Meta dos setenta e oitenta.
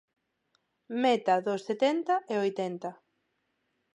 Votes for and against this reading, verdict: 4, 0, accepted